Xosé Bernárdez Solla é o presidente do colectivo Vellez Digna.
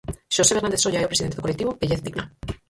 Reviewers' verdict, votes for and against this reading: rejected, 0, 4